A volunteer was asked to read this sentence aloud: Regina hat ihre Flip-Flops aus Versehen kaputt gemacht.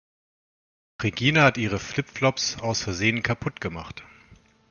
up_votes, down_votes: 3, 0